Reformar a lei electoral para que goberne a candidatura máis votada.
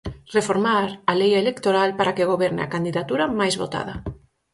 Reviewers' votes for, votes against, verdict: 4, 0, accepted